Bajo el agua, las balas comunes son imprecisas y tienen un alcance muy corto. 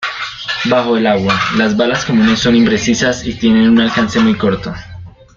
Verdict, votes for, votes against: rejected, 1, 2